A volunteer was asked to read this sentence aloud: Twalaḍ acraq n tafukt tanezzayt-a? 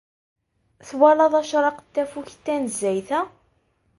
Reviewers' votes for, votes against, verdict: 2, 0, accepted